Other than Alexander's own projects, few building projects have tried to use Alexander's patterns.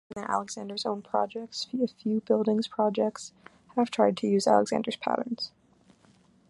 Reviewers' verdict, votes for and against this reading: rejected, 0, 2